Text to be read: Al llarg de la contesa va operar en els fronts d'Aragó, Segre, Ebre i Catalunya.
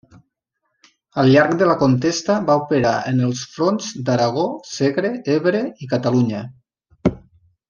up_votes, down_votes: 1, 2